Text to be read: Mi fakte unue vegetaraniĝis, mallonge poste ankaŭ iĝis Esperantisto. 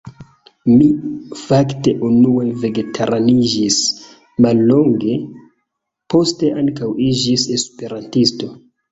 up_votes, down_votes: 1, 2